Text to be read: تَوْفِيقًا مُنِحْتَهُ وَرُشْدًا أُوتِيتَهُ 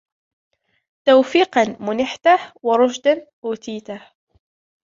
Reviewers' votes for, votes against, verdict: 0, 2, rejected